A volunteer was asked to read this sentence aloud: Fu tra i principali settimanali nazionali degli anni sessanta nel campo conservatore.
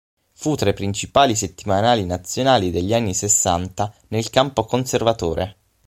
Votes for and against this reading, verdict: 6, 0, accepted